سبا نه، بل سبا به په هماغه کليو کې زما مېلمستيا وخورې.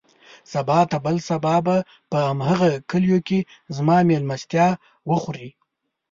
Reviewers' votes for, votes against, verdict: 2, 0, accepted